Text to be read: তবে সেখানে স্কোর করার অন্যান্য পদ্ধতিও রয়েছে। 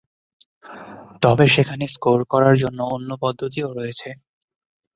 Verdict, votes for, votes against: rejected, 0, 2